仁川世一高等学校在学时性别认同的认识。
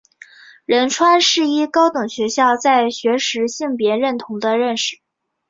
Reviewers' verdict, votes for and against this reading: accepted, 3, 0